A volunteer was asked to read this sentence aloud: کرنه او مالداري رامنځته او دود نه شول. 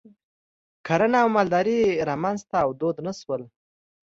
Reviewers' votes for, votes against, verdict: 3, 0, accepted